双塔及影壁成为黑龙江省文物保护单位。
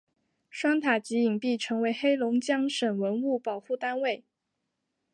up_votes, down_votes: 6, 0